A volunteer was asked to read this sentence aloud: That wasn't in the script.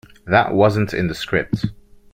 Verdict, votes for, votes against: accepted, 2, 0